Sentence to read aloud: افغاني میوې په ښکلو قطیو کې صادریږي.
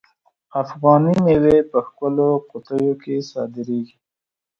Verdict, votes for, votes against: accepted, 2, 0